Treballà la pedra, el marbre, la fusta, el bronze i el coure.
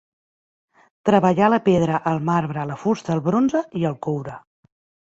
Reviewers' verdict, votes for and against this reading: accepted, 2, 0